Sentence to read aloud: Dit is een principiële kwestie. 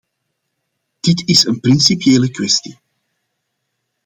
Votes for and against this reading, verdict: 2, 0, accepted